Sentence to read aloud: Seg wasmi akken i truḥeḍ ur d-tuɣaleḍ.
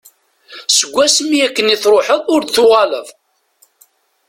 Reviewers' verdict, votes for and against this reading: accepted, 2, 1